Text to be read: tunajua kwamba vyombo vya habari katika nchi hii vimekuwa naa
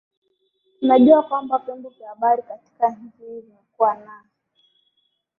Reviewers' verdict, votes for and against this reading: accepted, 4, 0